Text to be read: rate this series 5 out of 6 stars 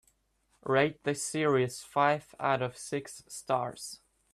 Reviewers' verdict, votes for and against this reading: rejected, 0, 2